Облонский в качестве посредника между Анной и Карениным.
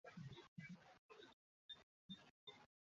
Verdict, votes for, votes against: rejected, 0, 2